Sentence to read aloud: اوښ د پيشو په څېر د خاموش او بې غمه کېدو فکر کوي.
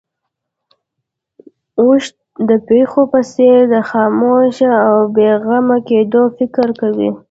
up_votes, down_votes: 1, 2